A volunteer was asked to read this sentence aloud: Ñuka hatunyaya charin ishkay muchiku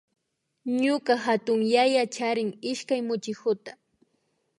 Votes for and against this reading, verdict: 2, 0, accepted